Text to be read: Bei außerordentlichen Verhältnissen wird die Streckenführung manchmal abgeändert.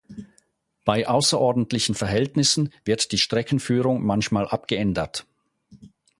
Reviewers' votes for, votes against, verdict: 4, 0, accepted